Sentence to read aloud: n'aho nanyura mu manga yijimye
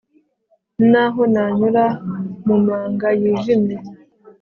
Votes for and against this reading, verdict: 2, 0, accepted